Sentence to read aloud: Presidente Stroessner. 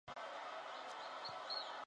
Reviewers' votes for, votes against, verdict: 0, 2, rejected